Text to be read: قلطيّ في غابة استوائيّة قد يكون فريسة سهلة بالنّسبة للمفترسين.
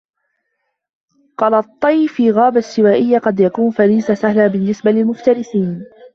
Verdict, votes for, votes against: rejected, 0, 2